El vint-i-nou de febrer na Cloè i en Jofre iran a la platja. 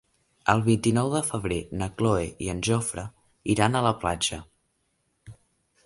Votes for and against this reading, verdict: 1, 2, rejected